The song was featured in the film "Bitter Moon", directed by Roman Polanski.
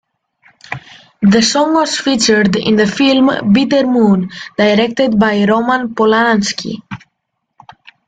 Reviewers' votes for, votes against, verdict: 2, 0, accepted